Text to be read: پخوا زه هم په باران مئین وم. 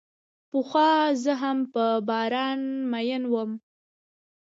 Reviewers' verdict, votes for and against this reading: rejected, 1, 2